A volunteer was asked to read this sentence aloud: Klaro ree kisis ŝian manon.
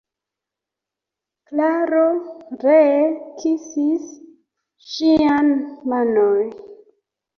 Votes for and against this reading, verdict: 2, 1, accepted